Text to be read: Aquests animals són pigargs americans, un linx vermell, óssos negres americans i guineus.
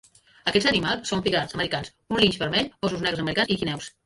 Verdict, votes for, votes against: rejected, 0, 2